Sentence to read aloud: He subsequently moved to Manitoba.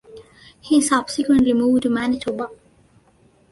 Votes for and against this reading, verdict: 2, 0, accepted